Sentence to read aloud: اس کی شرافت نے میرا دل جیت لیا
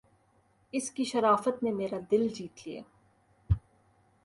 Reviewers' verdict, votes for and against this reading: accepted, 2, 0